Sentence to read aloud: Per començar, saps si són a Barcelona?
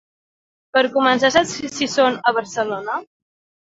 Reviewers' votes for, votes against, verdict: 0, 2, rejected